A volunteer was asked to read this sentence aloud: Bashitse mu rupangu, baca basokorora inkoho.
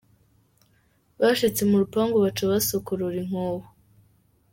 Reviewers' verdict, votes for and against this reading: accepted, 2, 1